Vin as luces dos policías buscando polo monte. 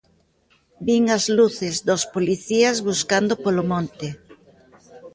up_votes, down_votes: 3, 0